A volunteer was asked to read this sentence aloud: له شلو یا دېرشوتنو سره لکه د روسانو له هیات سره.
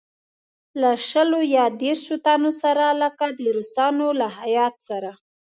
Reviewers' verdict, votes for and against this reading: accepted, 2, 0